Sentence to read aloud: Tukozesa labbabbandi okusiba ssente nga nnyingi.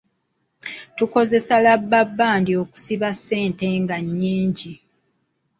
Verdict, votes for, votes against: accepted, 2, 0